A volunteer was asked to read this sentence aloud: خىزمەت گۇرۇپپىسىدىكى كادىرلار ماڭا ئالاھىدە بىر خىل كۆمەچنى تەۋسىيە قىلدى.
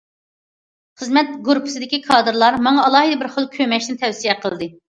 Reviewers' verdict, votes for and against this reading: accepted, 2, 0